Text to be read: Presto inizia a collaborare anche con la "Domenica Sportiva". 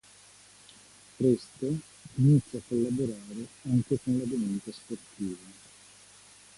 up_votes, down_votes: 1, 2